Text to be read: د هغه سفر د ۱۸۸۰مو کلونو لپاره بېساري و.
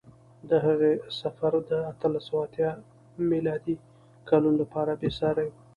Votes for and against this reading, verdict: 0, 2, rejected